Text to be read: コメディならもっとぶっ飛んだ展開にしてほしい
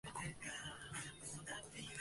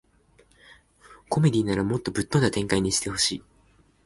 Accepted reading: second